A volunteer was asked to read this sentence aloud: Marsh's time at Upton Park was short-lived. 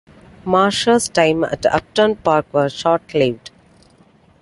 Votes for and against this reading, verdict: 2, 1, accepted